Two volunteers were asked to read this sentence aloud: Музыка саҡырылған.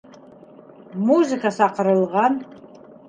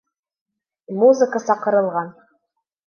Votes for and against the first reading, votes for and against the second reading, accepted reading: 2, 0, 1, 2, first